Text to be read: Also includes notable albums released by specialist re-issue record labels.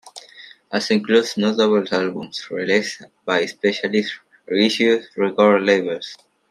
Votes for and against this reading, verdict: 0, 2, rejected